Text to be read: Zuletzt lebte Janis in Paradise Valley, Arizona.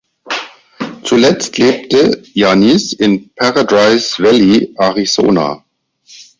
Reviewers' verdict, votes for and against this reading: accepted, 4, 0